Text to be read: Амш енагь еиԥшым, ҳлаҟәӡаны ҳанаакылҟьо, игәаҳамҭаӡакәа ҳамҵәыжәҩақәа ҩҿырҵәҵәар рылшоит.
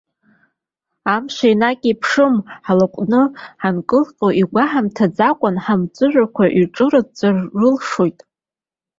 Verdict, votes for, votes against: rejected, 0, 2